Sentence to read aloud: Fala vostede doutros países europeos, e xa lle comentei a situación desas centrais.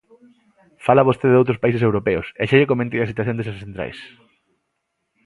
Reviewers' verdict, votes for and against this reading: accepted, 2, 0